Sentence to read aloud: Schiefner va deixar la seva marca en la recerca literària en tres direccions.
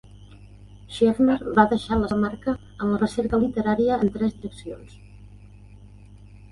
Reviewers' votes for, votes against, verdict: 0, 2, rejected